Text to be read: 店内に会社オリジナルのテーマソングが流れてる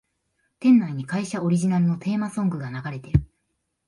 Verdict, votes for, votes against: accepted, 5, 1